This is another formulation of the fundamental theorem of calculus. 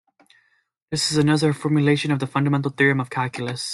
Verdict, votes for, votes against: accepted, 2, 0